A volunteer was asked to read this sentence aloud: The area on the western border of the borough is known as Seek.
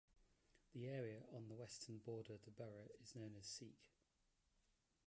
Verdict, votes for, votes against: rejected, 0, 2